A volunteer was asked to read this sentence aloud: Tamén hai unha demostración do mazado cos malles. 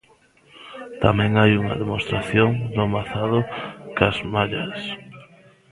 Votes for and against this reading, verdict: 0, 2, rejected